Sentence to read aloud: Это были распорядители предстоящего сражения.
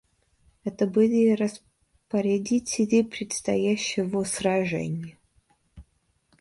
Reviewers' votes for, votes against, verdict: 0, 2, rejected